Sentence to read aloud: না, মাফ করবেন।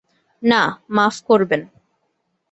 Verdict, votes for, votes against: accepted, 2, 0